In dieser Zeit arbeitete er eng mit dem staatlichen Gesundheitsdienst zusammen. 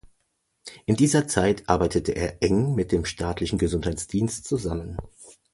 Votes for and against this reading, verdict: 2, 0, accepted